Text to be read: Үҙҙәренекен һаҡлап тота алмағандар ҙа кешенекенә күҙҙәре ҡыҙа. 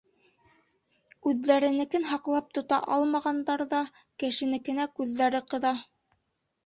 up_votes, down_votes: 2, 0